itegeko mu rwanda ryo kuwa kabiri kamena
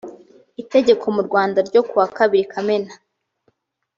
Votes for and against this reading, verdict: 3, 0, accepted